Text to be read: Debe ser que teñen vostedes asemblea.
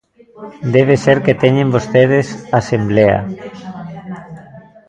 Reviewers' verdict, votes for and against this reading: accepted, 2, 0